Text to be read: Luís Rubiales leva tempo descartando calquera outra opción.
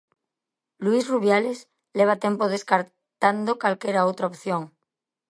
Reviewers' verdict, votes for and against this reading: rejected, 2, 3